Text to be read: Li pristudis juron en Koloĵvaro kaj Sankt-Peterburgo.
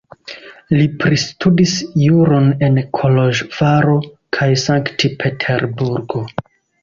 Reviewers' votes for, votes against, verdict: 2, 0, accepted